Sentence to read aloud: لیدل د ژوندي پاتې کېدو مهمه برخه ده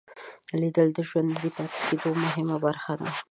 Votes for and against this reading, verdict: 1, 2, rejected